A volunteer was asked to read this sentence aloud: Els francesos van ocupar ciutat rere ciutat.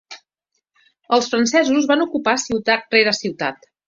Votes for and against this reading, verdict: 2, 0, accepted